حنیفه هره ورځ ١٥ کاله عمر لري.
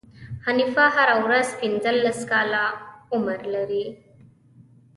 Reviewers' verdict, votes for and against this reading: rejected, 0, 2